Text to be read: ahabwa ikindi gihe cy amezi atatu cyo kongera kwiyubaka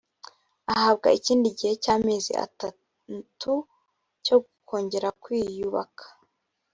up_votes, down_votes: 0, 2